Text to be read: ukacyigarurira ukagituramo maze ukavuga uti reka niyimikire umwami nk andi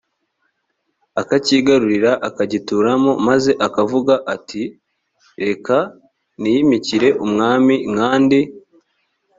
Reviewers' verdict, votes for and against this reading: rejected, 1, 2